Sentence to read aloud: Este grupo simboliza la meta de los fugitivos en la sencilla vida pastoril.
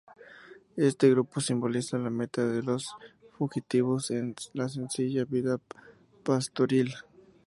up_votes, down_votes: 0, 2